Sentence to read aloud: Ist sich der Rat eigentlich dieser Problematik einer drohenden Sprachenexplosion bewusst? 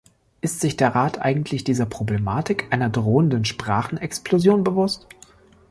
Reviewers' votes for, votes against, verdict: 3, 0, accepted